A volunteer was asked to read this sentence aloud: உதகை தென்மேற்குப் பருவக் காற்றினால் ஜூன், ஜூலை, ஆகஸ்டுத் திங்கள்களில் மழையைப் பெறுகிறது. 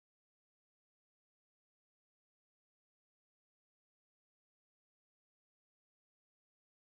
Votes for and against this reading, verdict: 0, 2, rejected